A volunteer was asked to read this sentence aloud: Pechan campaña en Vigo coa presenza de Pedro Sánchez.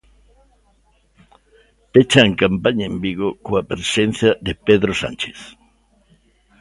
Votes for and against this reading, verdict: 2, 0, accepted